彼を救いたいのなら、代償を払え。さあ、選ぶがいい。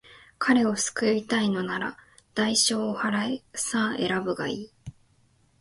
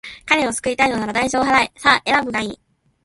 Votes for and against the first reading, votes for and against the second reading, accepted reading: 2, 0, 1, 2, first